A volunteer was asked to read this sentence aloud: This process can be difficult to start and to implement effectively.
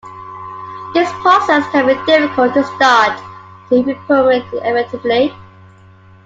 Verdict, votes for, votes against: rejected, 1, 2